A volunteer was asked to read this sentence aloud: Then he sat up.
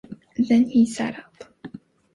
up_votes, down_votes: 3, 0